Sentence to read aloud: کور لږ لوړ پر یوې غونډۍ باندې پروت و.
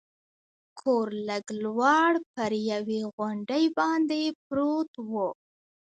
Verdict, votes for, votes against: rejected, 1, 2